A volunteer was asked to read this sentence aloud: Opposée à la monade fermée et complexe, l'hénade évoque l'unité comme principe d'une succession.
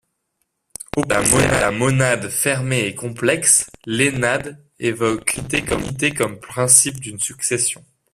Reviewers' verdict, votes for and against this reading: rejected, 0, 2